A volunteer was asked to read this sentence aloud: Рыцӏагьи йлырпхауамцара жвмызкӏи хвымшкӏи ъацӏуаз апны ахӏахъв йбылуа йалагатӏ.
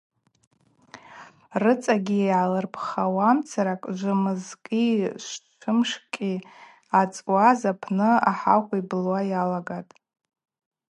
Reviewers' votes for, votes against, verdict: 0, 4, rejected